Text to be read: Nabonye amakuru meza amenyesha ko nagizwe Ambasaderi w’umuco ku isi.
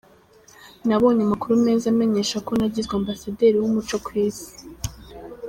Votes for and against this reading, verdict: 2, 0, accepted